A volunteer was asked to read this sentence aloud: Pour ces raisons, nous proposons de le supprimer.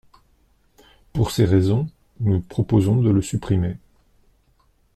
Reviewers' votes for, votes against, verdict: 2, 0, accepted